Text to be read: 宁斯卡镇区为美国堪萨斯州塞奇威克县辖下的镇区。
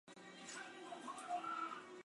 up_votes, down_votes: 0, 2